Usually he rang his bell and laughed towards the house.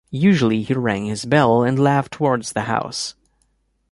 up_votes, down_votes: 2, 0